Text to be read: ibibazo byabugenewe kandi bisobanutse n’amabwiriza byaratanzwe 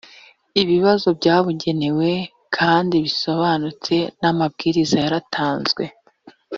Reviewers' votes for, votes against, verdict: 1, 2, rejected